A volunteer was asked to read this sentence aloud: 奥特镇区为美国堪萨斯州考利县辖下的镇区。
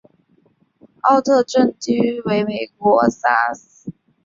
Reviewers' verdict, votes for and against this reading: rejected, 0, 2